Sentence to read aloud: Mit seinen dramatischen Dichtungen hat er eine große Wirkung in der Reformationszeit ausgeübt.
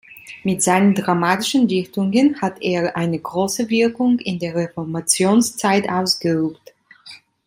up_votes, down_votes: 2, 0